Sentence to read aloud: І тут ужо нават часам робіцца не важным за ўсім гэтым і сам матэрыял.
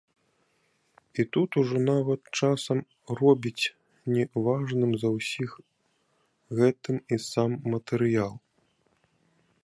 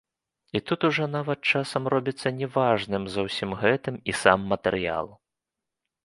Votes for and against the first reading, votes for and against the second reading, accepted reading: 1, 2, 2, 0, second